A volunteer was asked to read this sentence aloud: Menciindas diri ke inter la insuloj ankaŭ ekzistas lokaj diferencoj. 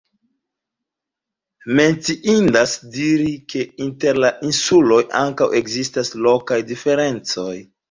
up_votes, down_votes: 2, 1